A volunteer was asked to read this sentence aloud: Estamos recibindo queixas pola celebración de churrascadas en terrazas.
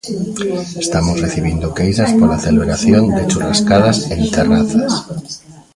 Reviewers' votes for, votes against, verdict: 0, 2, rejected